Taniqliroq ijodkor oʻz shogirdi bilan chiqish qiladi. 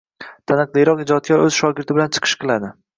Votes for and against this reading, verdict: 2, 0, accepted